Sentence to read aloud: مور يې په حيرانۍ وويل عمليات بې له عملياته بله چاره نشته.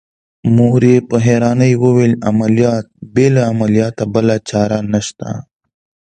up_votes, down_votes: 2, 0